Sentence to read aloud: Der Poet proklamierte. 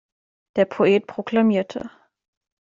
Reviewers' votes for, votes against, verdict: 2, 0, accepted